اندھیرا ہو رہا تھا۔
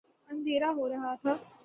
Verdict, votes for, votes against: rejected, 0, 3